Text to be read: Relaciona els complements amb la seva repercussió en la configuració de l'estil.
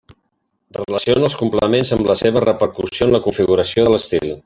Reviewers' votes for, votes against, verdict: 0, 2, rejected